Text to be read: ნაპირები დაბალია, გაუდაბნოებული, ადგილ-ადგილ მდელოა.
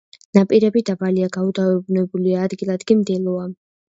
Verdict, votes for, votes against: rejected, 1, 2